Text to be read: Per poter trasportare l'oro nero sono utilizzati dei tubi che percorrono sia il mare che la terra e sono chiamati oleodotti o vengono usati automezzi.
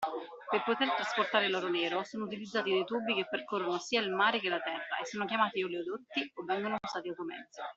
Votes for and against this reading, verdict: 2, 0, accepted